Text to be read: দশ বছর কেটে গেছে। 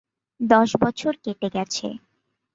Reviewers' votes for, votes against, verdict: 2, 0, accepted